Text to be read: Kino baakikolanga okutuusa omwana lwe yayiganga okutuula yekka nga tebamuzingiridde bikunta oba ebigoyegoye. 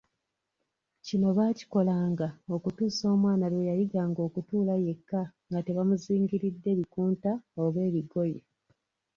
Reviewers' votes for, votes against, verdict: 1, 2, rejected